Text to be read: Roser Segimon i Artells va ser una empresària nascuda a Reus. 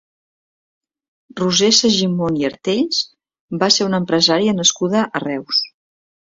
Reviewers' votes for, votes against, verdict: 2, 0, accepted